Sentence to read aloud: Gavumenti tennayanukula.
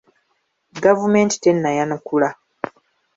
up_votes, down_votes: 2, 1